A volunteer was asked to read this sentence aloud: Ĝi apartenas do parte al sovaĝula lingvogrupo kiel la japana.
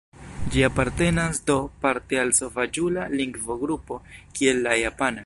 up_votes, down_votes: 2, 0